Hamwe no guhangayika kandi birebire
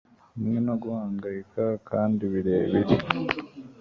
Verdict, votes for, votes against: accepted, 2, 0